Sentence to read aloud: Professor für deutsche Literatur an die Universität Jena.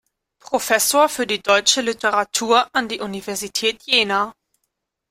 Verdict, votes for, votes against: rejected, 1, 2